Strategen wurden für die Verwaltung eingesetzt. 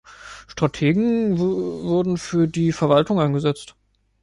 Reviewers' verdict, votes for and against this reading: accepted, 2, 0